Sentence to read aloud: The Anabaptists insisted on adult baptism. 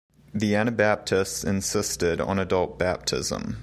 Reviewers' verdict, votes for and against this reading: accepted, 2, 0